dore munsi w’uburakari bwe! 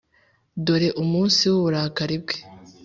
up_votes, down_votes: 3, 0